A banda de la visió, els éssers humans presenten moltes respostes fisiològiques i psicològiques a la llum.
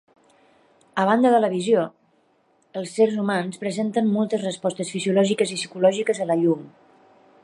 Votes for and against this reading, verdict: 0, 2, rejected